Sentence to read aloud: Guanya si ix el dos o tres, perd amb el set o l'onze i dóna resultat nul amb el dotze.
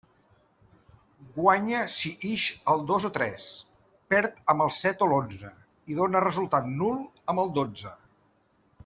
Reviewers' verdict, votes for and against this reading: accepted, 2, 0